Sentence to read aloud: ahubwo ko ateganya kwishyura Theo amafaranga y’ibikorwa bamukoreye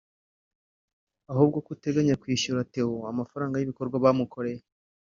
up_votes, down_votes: 1, 2